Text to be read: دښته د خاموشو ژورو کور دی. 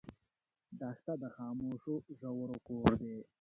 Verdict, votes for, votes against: rejected, 0, 2